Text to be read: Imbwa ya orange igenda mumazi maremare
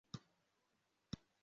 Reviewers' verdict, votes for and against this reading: rejected, 0, 2